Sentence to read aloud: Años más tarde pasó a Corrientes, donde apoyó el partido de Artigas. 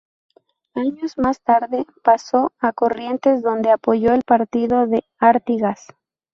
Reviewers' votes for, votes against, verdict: 0, 2, rejected